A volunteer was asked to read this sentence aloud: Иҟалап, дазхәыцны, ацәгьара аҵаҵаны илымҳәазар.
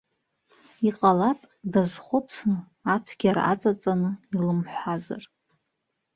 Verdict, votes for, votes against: accepted, 2, 0